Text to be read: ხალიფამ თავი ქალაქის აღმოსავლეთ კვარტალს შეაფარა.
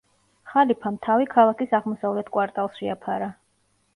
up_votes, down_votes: 2, 0